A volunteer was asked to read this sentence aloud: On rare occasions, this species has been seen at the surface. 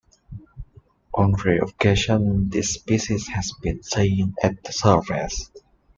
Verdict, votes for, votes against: accepted, 2, 1